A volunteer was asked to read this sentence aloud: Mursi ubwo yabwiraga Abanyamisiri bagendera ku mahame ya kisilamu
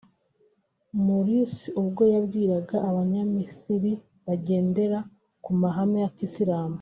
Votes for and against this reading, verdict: 1, 2, rejected